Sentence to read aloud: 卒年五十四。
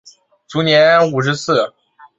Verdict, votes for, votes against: accepted, 3, 0